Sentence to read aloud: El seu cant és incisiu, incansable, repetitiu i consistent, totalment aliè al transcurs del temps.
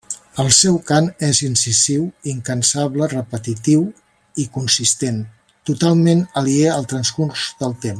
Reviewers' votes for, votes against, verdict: 1, 2, rejected